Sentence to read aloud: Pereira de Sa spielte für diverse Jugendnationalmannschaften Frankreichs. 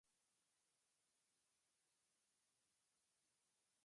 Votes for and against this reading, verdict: 0, 2, rejected